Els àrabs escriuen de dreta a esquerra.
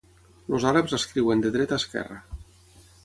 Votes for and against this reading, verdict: 3, 6, rejected